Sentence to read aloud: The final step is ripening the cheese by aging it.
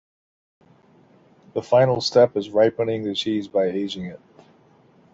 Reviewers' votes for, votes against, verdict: 1, 2, rejected